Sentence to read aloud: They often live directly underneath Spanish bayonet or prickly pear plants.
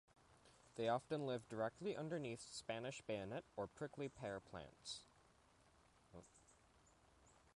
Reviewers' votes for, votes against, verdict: 2, 0, accepted